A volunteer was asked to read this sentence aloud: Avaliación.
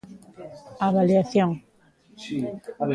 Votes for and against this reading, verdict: 1, 2, rejected